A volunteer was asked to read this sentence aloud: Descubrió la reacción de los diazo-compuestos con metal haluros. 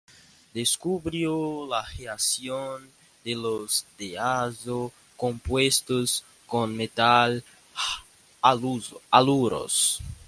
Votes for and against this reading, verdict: 0, 2, rejected